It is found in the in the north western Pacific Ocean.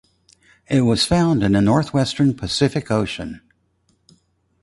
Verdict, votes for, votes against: rejected, 0, 2